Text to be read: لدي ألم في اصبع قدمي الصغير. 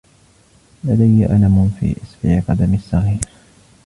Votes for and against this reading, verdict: 2, 0, accepted